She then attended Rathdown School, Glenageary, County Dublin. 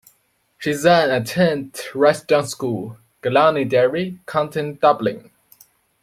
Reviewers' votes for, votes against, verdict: 0, 2, rejected